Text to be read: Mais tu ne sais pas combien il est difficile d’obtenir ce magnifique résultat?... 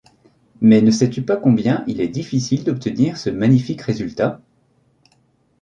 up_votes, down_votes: 1, 2